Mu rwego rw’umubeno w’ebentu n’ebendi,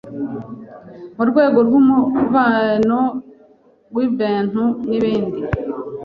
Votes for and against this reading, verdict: 2, 0, accepted